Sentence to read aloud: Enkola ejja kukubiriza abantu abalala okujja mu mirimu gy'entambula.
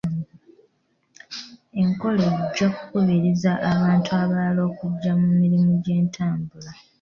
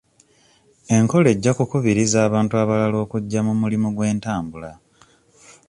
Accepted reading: first